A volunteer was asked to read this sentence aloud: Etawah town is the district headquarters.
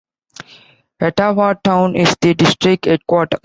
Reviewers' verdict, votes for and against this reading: rejected, 1, 4